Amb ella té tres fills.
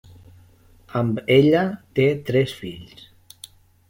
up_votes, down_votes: 3, 0